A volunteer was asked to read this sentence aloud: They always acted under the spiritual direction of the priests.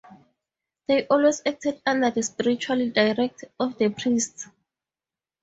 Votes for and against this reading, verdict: 0, 2, rejected